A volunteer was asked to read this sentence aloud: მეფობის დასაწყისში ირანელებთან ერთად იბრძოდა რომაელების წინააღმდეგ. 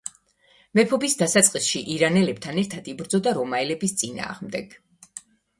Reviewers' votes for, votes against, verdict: 2, 1, accepted